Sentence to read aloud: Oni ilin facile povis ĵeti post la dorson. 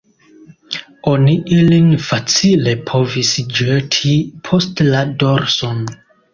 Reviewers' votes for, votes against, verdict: 0, 2, rejected